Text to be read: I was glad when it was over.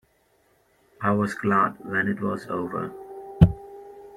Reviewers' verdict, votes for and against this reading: rejected, 1, 2